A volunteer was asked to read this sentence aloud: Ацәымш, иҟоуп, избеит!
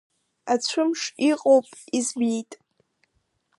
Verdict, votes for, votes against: rejected, 1, 2